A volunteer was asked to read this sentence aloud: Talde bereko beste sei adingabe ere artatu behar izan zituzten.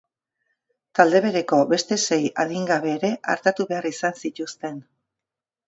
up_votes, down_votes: 3, 0